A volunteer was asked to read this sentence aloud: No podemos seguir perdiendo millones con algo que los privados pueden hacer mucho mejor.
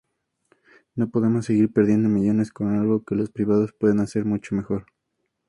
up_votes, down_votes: 2, 0